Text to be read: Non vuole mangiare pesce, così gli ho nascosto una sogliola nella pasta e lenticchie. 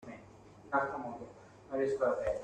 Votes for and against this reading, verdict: 0, 2, rejected